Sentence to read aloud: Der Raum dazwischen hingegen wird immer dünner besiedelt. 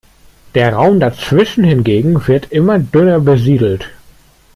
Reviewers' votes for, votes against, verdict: 3, 0, accepted